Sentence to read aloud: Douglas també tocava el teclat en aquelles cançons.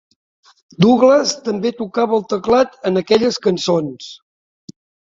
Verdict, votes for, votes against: accepted, 2, 0